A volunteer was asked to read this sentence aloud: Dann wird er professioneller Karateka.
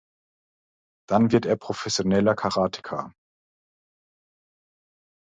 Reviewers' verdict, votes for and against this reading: accepted, 2, 0